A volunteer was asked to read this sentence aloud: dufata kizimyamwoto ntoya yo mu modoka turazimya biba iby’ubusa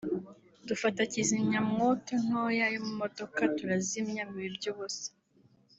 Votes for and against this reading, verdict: 2, 0, accepted